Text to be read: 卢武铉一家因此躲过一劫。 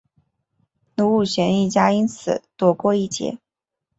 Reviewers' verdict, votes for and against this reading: rejected, 0, 2